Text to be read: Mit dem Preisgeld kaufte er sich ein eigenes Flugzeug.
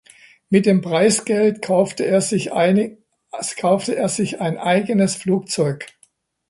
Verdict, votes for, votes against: rejected, 0, 2